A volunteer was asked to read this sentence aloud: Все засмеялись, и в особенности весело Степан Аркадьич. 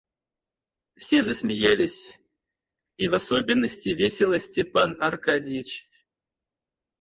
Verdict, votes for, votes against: rejected, 0, 4